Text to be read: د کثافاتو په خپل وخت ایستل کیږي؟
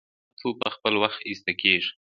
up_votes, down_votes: 2, 1